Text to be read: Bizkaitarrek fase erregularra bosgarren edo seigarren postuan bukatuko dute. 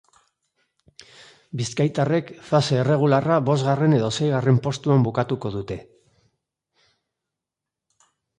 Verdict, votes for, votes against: accepted, 2, 0